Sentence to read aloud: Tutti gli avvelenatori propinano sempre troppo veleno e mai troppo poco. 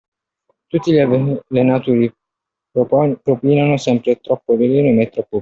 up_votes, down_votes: 0, 2